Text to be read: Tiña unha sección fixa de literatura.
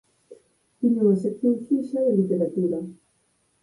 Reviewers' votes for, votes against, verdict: 2, 4, rejected